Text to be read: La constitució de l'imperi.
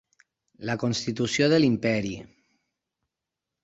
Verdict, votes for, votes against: accepted, 6, 0